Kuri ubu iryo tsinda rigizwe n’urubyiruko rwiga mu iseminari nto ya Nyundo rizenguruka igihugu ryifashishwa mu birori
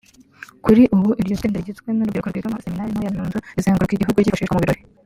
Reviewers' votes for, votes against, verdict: 0, 2, rejected